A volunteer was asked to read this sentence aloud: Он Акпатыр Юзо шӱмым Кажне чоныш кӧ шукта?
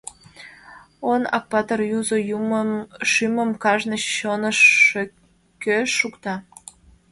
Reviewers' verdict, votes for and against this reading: rejected, 1, 2